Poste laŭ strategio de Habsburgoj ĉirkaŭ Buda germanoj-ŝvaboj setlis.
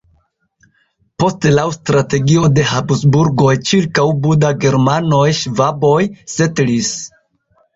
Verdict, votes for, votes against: accepted, 2, 1